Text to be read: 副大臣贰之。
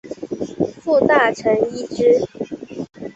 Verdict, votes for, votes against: rejected, 2, 3